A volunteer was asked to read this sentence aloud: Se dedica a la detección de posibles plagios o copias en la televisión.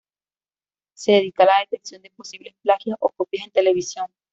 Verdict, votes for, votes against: accepted, 2, 1